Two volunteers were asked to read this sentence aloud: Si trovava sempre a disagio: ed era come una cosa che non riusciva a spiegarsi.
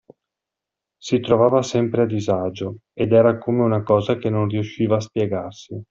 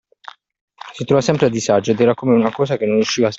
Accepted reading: first